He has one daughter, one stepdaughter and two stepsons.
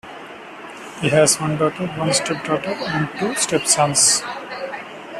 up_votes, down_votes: 0, 2